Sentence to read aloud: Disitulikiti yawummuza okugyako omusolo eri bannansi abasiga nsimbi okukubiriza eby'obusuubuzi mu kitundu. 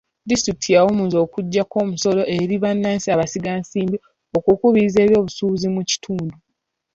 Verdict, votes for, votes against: accepted, 3, 0